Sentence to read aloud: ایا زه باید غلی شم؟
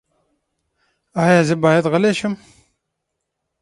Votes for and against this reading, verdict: 6, 3, accepted